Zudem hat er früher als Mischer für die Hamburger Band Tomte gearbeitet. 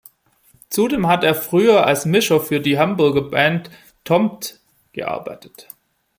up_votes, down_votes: 1, 2